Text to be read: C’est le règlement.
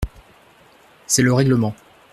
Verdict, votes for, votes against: accepted, 2, 0